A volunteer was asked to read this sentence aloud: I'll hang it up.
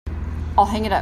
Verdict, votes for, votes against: accepted, 2, 1